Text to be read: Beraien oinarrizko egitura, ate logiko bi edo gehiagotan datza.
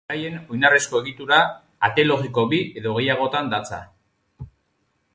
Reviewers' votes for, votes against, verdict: 4, 0, accepted